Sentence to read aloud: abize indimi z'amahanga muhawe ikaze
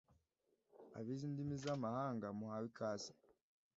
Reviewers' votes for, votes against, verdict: 2, 0, accepted